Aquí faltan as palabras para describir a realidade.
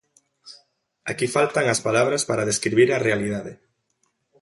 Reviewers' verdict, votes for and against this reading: accepted, 2, 0